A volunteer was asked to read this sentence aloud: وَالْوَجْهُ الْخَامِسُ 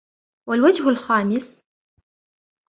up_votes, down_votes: 3, 0